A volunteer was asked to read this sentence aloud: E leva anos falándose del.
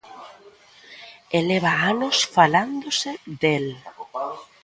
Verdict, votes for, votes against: rejected, 0, 2